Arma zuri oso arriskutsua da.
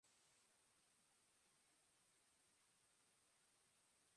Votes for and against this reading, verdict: 0, 4, rejected